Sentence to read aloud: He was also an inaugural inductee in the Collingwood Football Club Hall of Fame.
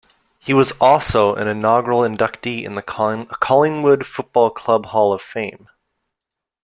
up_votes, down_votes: 1, 2